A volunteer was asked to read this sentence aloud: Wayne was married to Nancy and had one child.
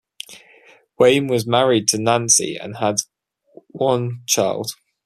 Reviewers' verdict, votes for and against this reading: accepted, 2, 0